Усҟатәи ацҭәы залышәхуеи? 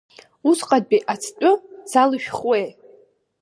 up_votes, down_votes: 2, 0